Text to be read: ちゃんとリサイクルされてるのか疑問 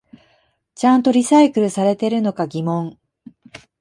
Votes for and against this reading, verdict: 2, 0, accepted